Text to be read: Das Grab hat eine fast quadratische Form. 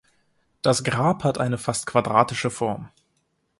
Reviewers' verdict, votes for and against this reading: accepted, 2, 0